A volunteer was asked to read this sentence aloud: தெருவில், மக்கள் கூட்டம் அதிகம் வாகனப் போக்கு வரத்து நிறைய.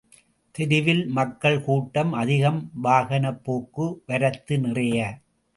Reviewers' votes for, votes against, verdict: 2, 0, accepted